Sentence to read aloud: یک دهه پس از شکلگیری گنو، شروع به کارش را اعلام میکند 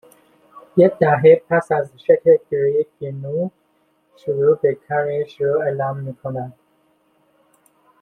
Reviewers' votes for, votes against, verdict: 0, 2, rejected